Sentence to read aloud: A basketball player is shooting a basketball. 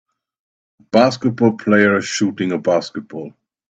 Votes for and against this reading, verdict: 2, 3, rejected